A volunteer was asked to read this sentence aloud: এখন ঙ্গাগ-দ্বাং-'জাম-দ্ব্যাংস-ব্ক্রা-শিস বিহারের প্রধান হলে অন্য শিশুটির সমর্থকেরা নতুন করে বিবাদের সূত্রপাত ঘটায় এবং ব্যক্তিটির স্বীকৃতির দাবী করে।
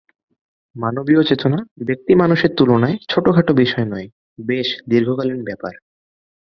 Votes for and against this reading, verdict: 0, 3, rejected